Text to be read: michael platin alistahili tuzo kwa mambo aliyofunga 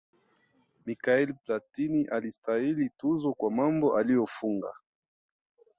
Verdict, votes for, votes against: rejected, 1, 2